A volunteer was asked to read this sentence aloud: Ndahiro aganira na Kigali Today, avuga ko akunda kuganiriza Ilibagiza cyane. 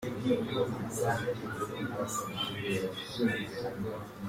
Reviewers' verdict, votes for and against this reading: rejected, 0, 2